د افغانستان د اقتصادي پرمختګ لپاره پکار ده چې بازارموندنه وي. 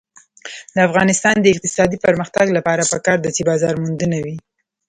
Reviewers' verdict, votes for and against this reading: accepted, 2, 0